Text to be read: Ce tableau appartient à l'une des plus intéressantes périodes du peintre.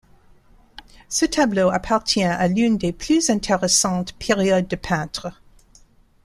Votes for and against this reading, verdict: 1, 2, rejected